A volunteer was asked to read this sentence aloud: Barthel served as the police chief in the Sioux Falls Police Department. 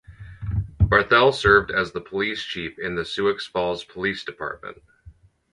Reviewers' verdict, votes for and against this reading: accepted, 4, 2